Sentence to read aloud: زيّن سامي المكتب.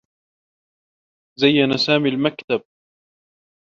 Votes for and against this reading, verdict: 2, 0, accepted